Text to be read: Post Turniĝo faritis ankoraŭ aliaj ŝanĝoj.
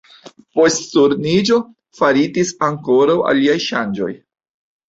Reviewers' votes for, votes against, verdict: 2, 0, accepted